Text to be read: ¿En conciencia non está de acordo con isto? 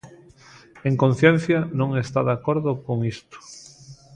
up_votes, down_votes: 0, 2